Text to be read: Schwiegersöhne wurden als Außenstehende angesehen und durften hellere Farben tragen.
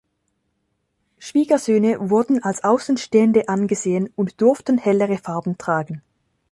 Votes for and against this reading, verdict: 2, 0, accepted